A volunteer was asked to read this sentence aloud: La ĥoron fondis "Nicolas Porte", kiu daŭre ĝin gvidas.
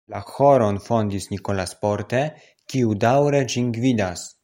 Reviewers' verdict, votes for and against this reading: accepted, 2, 0